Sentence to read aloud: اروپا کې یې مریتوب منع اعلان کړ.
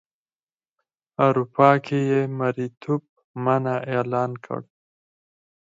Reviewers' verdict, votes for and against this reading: accepted, 4, 0